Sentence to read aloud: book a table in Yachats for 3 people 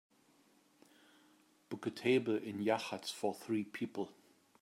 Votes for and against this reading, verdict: 0, 2, rejected